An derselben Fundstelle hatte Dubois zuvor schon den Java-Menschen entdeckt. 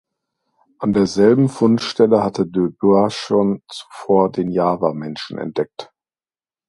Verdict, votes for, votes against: rejected, 0, 2